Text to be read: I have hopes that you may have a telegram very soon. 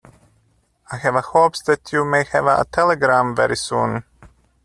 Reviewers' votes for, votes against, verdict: 0, 2, rejected